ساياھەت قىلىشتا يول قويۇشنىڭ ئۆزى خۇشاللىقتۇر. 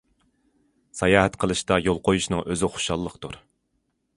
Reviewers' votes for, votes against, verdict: 2, 0, accepted